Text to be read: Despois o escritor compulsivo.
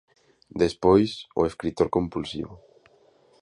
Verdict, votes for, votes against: accepted, 2, 0